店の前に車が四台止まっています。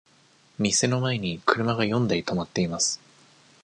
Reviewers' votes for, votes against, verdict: 2, 0, accepted